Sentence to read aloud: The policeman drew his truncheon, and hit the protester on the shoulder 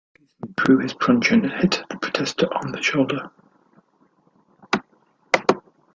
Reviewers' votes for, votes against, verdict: 0, 2, rejected